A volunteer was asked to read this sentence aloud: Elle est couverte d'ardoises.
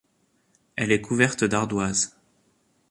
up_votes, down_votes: 2, 0